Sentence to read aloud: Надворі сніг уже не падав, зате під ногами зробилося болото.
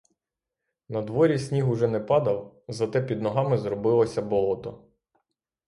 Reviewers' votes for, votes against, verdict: 6, 0, accepted